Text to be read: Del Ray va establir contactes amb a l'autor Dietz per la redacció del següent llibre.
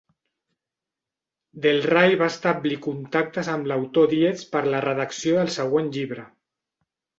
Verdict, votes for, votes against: accepted, 2, 0